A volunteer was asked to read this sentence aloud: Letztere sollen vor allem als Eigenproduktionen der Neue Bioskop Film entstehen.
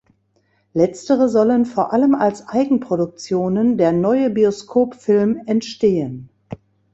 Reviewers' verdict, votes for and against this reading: accepted, 2, 0